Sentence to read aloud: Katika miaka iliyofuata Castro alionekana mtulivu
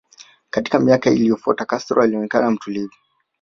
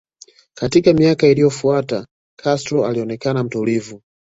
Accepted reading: second